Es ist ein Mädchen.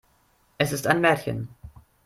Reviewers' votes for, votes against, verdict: 0, 2, rejected